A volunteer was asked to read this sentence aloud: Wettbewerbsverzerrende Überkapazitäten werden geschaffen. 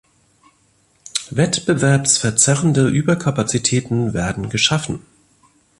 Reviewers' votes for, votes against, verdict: 2, 0, accepted